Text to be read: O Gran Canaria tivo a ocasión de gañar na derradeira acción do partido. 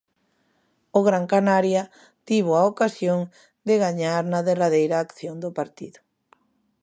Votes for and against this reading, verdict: 2, 0, accepted